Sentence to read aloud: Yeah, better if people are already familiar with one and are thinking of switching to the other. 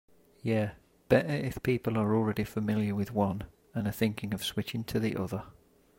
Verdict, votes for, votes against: accepted, 2, 0